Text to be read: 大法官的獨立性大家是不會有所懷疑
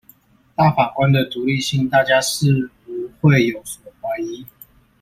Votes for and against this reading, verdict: 1, 2, rejected